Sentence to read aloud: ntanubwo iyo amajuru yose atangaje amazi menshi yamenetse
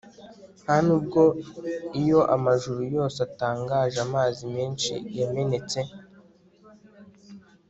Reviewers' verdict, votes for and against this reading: accepted, 2, 0